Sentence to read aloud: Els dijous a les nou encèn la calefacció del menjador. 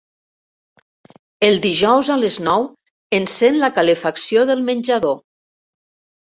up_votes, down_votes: 1, 2